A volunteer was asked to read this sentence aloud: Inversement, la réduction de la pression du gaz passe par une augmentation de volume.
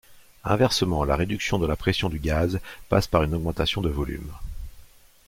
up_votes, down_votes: 2, 0